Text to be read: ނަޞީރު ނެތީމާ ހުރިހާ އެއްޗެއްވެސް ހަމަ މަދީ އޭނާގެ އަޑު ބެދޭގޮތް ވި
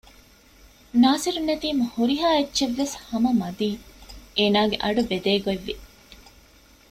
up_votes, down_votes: 1, 2